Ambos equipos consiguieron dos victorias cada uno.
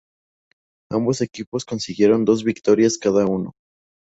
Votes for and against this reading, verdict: 4, 0, accepted